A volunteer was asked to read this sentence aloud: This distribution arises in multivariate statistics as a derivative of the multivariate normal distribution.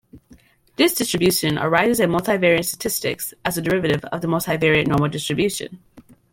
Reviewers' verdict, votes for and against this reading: accepted, 2, 1